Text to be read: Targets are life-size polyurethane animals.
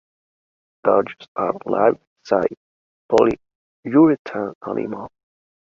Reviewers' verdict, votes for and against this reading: rejected, 1, 3